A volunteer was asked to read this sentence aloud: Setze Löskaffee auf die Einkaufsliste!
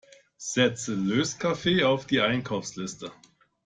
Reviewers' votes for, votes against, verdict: 2, 0, accepted